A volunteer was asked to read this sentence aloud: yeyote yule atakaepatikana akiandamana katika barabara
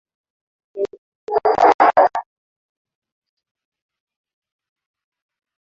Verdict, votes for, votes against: accepted, 2, 0